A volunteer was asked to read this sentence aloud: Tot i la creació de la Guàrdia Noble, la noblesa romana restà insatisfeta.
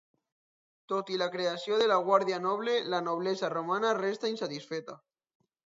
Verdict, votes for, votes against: accepted, 2, 0